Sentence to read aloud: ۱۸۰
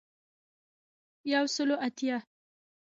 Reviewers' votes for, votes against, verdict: 0, 2, rejected